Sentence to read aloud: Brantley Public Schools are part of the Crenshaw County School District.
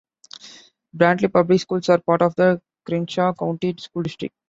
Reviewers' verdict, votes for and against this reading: accepted, 2, 0